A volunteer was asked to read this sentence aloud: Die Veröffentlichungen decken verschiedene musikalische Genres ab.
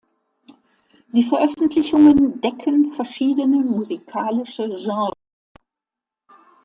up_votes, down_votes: 0, 2